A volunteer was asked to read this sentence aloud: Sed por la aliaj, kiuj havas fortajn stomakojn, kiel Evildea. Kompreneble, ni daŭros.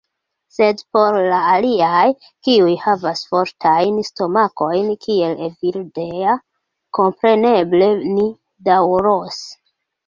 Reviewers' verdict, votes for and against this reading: rejected, 1, 2